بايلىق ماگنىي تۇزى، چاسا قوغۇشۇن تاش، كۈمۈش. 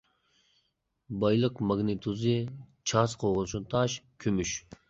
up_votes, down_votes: 1, 2